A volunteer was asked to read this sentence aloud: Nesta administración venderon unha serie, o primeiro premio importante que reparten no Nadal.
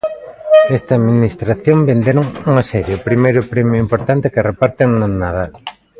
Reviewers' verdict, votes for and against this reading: accepted, 2, 1